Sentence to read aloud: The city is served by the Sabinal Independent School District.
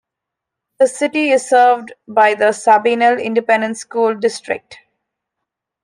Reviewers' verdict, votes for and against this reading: accepted, 3, 0